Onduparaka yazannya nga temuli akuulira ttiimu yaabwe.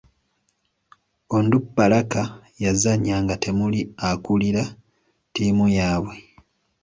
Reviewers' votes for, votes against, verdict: 2, 0, accepted